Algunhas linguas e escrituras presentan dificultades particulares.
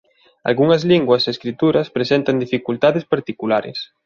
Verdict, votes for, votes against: accepted, 2, 0